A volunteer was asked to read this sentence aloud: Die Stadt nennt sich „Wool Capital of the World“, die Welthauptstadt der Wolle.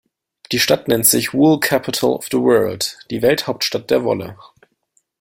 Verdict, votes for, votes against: accepted, 2, 0